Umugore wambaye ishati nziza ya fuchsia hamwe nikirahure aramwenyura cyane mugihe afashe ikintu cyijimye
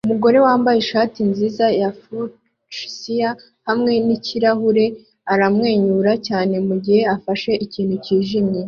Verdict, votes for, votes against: accepted, 2, 0